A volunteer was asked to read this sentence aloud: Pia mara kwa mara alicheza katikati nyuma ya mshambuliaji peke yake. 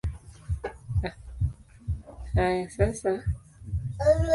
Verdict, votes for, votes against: rejected, 0, 2